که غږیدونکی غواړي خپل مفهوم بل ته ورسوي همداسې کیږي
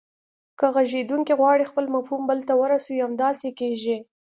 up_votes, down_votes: 2, 0